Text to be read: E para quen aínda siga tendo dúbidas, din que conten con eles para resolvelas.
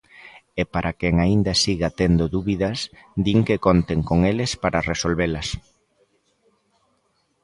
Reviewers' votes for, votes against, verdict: 2, 0, accepted